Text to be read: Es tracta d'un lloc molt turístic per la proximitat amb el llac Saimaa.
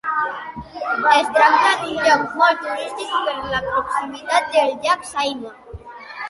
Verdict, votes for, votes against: rejected, 1, 2